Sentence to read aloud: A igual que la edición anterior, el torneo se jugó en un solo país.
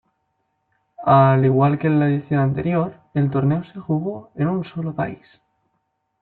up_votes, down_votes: 1, 2